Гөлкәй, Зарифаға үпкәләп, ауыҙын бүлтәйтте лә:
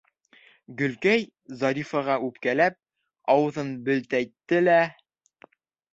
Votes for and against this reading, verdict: 0, 3, rejected